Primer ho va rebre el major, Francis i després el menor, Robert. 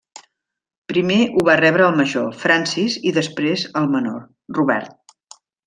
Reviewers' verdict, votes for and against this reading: rejected, 0, 2